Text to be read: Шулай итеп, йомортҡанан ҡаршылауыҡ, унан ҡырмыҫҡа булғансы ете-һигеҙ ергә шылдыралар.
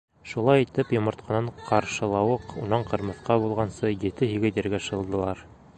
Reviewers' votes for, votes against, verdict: 1, 2, rejected